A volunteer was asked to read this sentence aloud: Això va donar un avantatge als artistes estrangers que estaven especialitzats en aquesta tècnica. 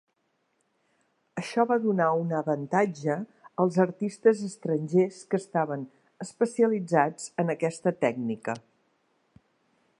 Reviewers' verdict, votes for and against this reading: accepted, 3, 0